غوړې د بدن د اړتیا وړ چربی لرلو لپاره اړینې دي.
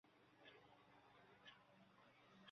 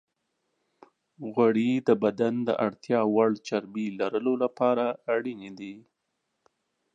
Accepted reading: second